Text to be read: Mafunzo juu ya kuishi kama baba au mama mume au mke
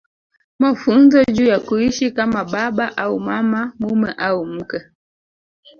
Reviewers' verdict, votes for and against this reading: rejected, 0, 2